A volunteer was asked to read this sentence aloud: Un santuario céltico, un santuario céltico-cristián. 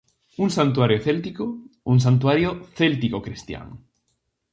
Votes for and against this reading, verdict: 2, 0, accepted